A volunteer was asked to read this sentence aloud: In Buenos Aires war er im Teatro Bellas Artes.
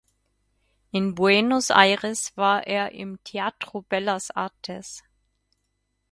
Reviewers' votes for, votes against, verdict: 4, 0, accepted